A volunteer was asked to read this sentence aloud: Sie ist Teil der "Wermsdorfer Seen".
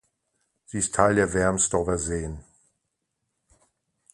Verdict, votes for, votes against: accepted, 2, 0